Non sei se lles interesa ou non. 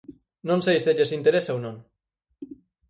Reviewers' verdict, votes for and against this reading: accepted, 4, 0